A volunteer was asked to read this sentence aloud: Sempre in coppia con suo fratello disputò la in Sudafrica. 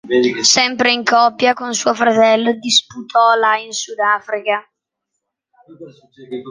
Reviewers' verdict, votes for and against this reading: rejected, 1, 2